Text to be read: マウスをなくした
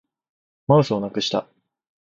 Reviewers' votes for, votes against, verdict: 2, 0, accepted